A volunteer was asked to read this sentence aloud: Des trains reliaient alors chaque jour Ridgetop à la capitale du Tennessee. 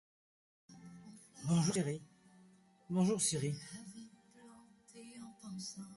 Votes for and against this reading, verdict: 1, 2, rejected